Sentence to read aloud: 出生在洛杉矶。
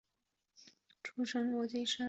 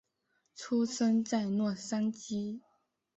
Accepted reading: second